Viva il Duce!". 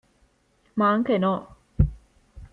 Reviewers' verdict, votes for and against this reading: rejected, 0, 3